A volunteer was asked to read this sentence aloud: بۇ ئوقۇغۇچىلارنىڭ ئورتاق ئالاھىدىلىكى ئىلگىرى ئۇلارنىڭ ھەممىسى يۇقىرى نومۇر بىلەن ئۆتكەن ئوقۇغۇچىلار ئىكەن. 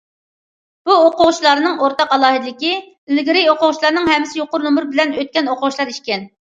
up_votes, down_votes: 0, 2